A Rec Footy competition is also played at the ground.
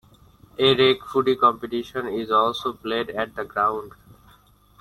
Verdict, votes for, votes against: rejected, 0, 2